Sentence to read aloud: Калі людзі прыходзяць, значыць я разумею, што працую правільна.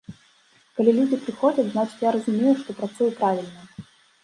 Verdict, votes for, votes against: accepted, 2, 0